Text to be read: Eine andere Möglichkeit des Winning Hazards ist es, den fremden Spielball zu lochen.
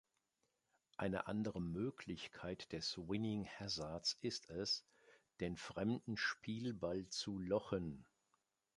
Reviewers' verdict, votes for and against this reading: accepted, 2, 0